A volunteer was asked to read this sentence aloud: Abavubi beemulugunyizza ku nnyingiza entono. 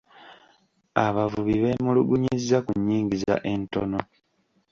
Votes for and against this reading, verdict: 2, 0, accepted